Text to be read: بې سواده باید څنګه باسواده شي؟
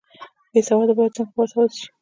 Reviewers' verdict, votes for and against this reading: accepted, 2, 1